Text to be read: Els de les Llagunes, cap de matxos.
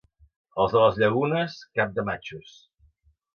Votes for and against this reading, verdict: 2, 0, accepted